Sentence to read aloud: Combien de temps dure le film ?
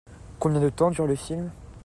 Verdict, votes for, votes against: accepted, 2, 0